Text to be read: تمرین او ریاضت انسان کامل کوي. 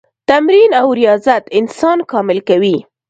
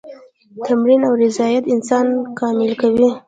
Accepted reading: first